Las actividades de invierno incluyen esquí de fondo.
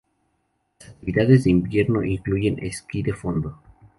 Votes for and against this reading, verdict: 0, 2, rejected